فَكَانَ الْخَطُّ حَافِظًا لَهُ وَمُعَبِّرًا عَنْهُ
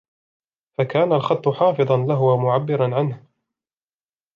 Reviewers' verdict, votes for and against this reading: accepted, 2, 0